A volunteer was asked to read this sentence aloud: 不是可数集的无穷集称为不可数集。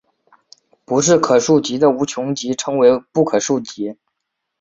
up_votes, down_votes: 2, 0